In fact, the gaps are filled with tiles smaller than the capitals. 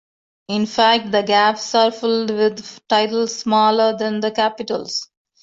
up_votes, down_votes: 2, 1